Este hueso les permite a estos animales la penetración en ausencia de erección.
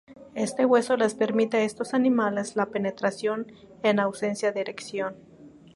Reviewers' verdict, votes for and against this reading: accepted, 2, 0